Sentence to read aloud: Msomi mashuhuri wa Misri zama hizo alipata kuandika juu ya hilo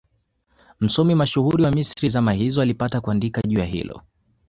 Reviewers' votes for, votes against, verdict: 2, 0, accepted